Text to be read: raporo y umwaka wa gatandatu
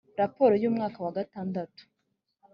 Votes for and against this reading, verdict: 2, 0, accepted